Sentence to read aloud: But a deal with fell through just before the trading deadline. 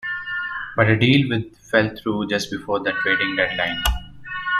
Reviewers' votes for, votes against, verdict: 2, 0, accepted